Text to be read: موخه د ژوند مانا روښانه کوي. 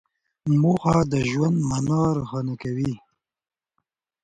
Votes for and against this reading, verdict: 2, 0, accepted